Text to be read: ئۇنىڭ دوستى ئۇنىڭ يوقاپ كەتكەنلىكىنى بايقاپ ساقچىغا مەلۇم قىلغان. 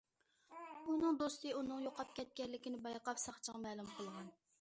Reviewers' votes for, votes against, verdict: 2, 0, accepted